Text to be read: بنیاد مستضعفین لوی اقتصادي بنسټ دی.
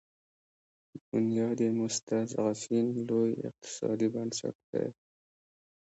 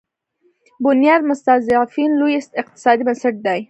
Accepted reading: first